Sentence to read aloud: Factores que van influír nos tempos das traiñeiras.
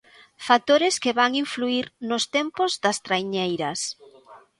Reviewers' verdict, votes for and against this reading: accepted, 2, 0